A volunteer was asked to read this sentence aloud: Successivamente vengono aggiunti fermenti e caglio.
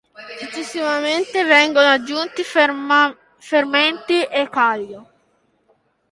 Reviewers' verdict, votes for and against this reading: rejected, 0, 2